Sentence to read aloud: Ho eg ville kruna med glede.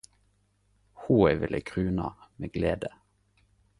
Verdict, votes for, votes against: accepted, 4, 0